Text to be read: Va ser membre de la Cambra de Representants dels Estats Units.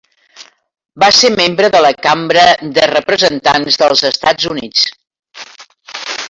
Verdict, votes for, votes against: accepted, 3, 0